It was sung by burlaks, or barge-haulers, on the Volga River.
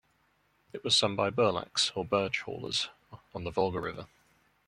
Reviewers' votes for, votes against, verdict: 0, 2, rejected